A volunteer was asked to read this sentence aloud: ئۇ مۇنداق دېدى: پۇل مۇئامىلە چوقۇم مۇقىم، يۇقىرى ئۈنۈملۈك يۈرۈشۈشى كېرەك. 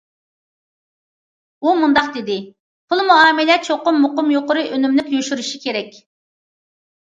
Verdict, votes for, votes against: rejected, 0, 2